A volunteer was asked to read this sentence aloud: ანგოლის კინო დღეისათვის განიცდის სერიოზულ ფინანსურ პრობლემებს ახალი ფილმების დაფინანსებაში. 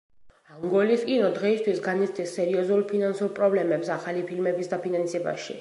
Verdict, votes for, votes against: rejected, 1, 2